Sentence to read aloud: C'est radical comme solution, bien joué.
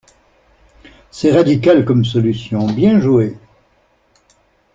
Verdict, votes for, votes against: accepted, 2, 0